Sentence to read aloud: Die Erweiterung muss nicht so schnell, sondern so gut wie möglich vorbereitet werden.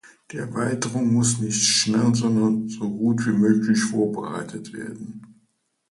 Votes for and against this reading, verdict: 1, 2, rejected